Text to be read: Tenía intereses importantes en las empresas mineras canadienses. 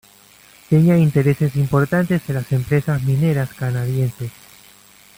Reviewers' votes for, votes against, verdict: 0, 2, rejected